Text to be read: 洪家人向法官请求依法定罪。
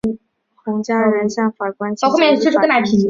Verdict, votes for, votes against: rejected, 1, 3